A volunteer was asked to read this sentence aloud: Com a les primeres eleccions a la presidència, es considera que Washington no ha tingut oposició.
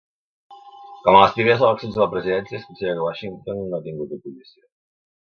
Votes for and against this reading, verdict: 0, 2, rejected